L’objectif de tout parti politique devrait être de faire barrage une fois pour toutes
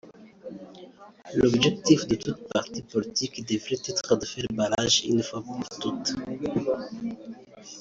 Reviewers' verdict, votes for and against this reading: rejected, 0, 2